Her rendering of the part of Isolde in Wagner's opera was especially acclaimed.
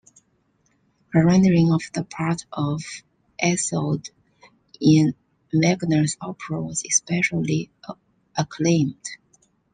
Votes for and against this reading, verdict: 0, 2, rejected